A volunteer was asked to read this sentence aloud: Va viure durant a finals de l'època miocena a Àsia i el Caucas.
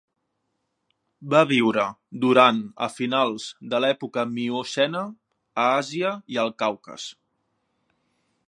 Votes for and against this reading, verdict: 2, 0, accepted